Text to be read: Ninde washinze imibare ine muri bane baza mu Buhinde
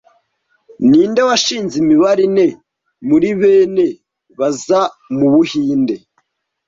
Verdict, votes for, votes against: rejected, 1, 2